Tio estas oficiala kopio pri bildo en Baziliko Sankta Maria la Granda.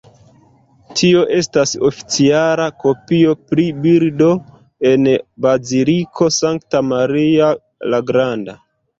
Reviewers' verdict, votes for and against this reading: rejected, 0, 2